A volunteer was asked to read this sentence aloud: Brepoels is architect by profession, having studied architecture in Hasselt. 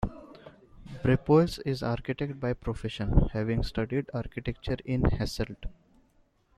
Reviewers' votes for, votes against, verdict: 2, 0, accepted